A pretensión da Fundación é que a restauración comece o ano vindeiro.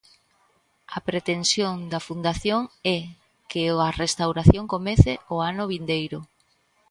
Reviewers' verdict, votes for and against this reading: rejected, 0, 2